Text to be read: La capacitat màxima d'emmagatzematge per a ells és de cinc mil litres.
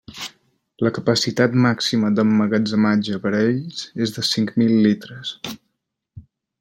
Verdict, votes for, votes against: accepted, 3, 0